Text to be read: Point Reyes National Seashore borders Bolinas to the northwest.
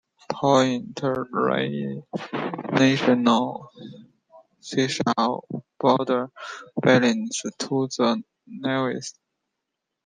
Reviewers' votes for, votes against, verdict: 0, 2, rejected